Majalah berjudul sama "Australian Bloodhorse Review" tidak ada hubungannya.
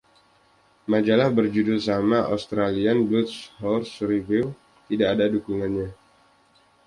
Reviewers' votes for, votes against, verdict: 1, 2, rejected